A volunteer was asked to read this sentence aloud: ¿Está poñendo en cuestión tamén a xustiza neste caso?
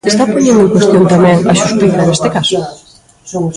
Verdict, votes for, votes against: rejected, 1, 2